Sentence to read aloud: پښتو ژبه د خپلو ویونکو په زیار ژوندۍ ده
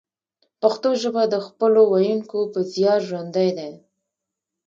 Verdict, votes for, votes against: rejected, 1, 2